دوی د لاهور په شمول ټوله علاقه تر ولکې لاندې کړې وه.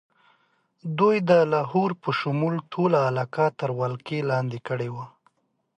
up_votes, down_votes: 2, 0